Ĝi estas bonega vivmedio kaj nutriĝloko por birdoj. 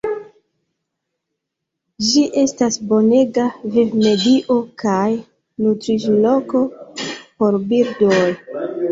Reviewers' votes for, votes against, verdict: 1, 2, rejected